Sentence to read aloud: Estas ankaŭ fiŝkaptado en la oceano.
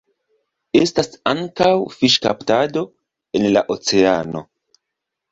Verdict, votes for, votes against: accepted, 2, 0